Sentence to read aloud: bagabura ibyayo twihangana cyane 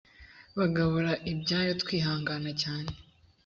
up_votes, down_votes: 2, 0